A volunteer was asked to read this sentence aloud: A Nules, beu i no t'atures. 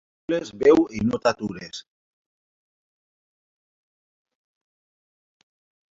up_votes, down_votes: 1, 2